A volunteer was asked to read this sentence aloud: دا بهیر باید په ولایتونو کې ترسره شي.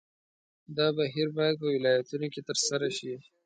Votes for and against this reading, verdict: 2, 0, accepted